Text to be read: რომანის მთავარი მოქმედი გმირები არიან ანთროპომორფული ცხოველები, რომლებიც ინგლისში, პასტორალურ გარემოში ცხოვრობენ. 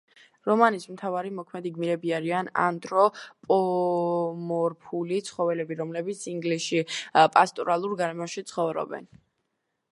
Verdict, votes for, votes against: rejected, 1, 2